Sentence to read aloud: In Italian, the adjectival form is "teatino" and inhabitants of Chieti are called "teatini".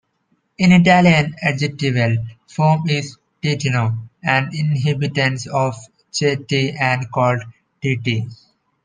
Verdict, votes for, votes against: rejected, 1, 2